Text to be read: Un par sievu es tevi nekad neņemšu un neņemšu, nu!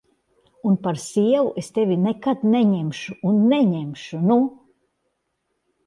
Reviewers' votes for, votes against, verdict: 2, 0, accepted